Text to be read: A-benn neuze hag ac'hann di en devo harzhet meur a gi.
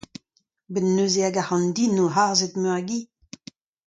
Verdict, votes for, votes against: accepted, 2, 0